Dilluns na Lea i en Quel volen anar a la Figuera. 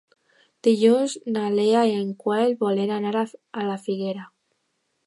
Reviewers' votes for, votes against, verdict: 0, 2, rejected